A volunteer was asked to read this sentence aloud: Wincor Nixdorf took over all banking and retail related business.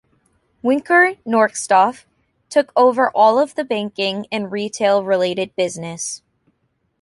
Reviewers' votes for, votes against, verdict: 0, 2, rejected